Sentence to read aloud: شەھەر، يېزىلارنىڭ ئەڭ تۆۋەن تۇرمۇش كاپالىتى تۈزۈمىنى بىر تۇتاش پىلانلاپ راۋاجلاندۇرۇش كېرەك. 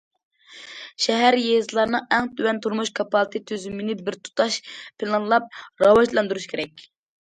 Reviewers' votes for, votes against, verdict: 2, 0, accepted